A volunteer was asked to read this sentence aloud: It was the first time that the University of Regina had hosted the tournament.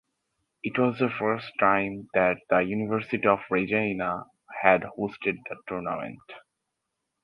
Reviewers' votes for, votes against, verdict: 4, 0, accepted